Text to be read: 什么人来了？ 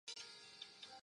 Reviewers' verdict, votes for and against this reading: rejected, 0, 2